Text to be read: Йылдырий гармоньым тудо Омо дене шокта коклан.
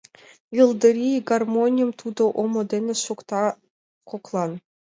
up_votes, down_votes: 2, 0